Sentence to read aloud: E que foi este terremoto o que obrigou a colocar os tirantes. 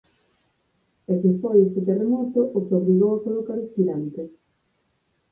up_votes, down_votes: 2, 4